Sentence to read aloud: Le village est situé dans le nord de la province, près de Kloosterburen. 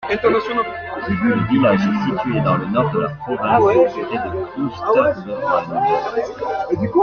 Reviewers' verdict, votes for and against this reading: accepted, 2, 1